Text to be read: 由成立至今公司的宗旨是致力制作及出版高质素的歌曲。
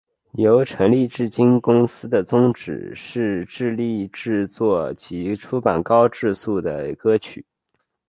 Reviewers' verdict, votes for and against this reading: accepted, 2, 1